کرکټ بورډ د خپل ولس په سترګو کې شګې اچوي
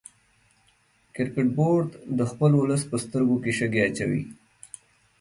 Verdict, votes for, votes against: accepted, 2, 0